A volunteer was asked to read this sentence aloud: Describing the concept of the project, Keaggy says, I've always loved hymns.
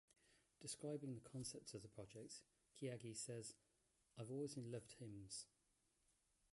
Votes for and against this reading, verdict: 1, 2, rejected